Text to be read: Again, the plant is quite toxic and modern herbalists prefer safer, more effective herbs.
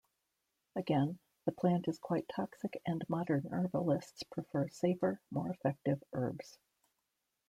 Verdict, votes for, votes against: rejected, 1, 2